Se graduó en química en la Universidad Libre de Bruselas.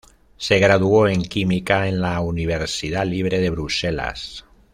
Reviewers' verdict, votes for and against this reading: accepted, 2, 0